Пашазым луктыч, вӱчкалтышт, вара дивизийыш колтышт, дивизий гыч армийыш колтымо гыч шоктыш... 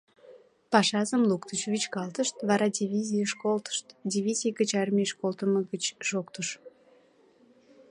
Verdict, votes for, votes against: accepted, 2, 0